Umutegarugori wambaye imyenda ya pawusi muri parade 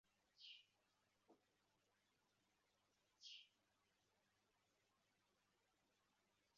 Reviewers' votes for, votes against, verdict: 0, 2, rejected